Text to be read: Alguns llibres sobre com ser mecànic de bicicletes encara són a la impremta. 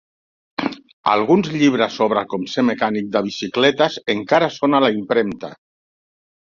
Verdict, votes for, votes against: accepted, 3, 0